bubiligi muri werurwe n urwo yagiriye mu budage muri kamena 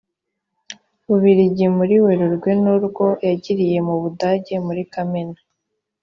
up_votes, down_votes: 2, 1